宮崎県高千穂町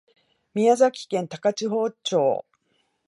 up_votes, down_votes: 10, 1